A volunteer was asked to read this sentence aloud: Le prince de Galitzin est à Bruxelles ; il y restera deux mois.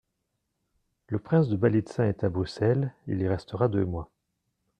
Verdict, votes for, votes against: accepted, 2, 1